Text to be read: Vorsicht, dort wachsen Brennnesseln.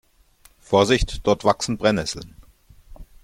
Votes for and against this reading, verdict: 2, 0, accepted